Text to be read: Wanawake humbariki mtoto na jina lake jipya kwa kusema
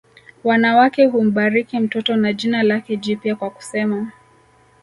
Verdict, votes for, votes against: accepted, 2, 0